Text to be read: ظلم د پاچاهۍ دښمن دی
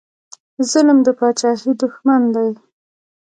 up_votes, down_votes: 0, 2